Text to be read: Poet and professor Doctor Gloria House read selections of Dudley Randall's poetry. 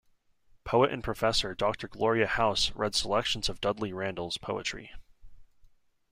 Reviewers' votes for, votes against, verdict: 2, 0, accepted